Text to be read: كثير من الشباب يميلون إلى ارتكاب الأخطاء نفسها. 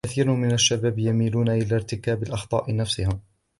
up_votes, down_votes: 2, 0